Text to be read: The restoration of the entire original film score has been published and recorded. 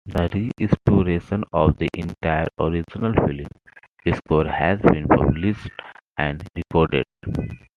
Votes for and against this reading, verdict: 2, 1, accepted